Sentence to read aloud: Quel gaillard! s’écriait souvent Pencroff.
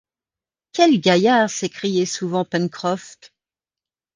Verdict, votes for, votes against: rejected, 1, 2